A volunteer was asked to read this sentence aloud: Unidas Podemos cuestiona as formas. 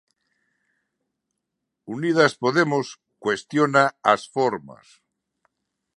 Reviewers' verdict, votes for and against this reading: accepted, 2, 0